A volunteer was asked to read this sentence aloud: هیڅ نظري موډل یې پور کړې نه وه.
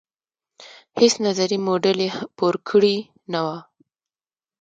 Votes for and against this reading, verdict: 1, 2, rejected